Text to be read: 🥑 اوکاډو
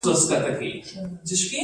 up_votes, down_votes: 0, 2